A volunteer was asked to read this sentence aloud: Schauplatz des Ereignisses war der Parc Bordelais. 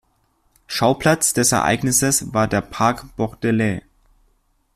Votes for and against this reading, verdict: 2, 1, accepted